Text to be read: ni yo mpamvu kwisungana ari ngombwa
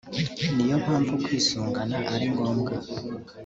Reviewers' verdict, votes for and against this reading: accepted, 2, 0